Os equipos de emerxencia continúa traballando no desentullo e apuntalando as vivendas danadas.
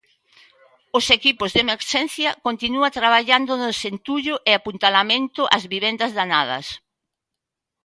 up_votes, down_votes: 0, 2